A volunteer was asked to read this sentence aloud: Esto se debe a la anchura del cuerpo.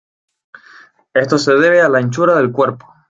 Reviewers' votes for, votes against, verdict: 2, 0, accepted